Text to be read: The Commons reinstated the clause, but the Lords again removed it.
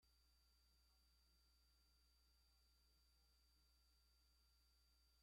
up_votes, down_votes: 0, 2